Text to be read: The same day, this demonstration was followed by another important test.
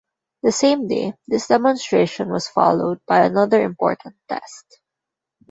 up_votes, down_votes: 2, 0